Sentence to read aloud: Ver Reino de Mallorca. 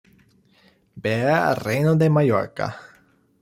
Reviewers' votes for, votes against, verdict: 1, 2, rejected